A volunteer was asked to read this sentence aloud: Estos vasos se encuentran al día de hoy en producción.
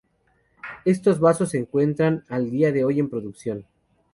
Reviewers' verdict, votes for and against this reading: accepted, 4, 0